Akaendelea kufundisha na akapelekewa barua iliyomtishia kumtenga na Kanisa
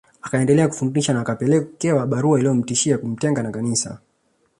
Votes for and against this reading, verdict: 2, 0, accepted